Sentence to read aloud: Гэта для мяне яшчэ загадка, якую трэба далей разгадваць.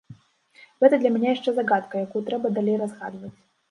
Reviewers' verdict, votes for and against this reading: accepted, 2, 1